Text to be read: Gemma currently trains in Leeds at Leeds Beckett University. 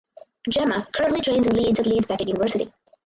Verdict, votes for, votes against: rejected, 2, 2